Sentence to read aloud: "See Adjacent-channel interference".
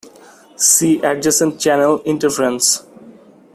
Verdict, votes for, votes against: rejected, 0, 2